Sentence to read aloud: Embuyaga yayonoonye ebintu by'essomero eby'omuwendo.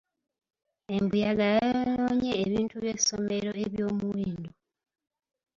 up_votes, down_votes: 3, 2